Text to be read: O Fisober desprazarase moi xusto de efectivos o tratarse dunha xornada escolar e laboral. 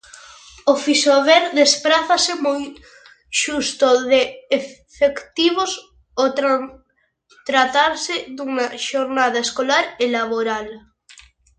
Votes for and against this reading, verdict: 0, 2, rejected